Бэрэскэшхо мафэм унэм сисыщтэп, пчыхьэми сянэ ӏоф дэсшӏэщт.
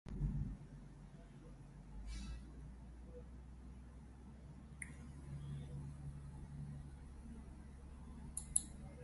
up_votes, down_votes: 0, 6